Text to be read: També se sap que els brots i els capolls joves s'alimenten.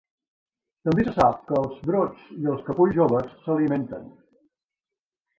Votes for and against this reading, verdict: 2, 3, rejected